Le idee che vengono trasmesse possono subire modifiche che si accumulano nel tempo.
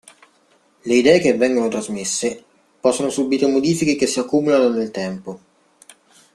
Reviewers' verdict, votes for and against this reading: accepted, 2, 0